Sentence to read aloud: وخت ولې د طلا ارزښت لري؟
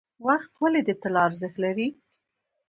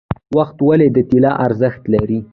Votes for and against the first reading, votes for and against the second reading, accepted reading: 1, 2, 2, 1, second